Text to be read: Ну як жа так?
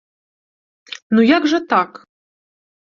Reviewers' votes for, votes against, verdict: 2, 0, accepted